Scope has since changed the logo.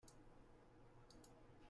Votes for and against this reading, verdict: 0, 2, rejected